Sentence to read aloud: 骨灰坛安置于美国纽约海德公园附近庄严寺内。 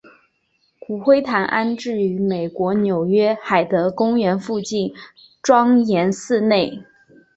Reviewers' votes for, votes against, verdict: 4, 0, accepted